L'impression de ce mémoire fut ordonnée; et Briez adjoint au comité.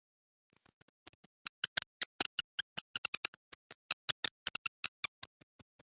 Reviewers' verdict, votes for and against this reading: rejected, 0, 2